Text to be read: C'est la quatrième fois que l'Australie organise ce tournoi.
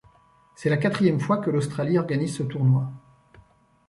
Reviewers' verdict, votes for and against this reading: accepted, 2, 0